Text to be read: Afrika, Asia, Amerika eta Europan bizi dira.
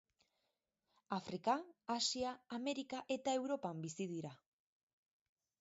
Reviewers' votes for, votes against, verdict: 4, 0, accepted